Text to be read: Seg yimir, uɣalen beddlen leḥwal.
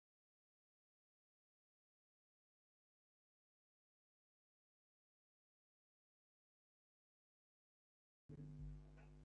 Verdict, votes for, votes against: rejected, 0, 2